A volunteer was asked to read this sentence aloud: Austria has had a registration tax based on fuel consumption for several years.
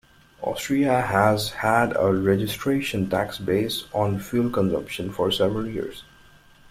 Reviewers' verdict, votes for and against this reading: rejected, 1, 2